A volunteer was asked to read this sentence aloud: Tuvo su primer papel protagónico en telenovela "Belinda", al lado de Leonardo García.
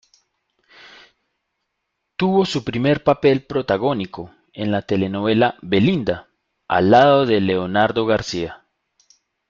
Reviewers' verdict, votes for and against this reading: rejected, 0, 2